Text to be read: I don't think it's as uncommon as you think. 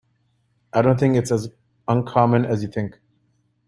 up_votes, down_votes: 2, 1